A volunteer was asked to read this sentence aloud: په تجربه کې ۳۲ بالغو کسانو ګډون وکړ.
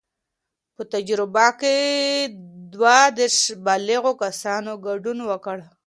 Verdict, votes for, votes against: rejected, 0, 2